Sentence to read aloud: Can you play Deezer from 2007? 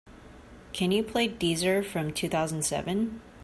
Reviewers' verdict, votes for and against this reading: rejected, 0, 2